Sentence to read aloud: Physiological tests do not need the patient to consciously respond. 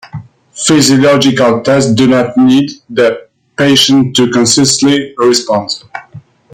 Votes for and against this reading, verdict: 1, 2, rejected